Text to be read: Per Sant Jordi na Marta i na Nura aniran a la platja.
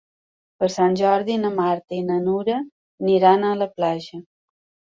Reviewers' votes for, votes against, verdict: 1, 2, rejected